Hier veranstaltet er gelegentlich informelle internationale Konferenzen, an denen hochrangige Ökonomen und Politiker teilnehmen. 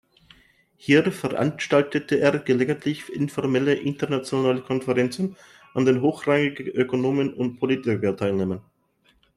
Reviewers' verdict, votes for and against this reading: rejected, 0, 2